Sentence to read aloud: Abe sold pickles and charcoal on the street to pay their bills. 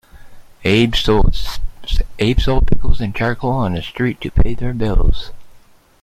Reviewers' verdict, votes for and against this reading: rejected, 1, 2